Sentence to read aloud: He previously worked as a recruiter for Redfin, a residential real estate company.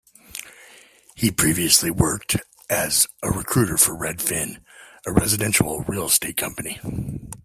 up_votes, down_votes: 3, 1